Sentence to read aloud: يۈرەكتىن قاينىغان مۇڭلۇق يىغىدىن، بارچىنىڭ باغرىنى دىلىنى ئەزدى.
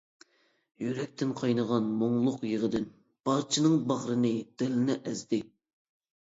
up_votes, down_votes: 2, 0